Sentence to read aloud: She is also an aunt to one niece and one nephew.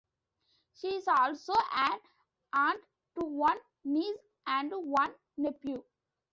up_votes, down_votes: 1, 2